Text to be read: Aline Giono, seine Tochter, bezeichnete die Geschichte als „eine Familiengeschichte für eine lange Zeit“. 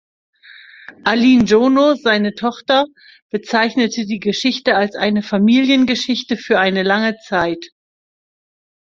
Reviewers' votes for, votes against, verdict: 2, 0, accepted